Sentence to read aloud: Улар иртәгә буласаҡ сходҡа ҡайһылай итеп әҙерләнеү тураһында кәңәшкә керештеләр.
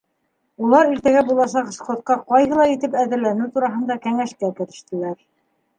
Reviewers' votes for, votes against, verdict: 2, 0, accepted